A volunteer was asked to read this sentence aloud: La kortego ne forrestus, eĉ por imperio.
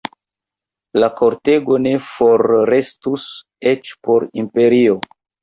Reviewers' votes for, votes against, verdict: 2, 1, accepted